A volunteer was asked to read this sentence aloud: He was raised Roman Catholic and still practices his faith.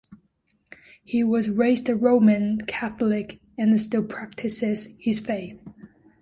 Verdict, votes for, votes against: accepted, 2, 0